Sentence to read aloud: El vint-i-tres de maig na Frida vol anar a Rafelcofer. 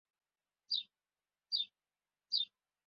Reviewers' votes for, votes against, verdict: 0, 2, rejected